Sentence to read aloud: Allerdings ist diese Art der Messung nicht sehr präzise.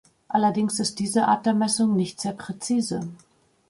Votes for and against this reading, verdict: 2, 0, accepted